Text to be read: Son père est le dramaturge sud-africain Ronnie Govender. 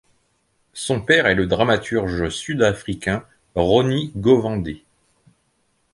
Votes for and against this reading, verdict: 0, 2, rejected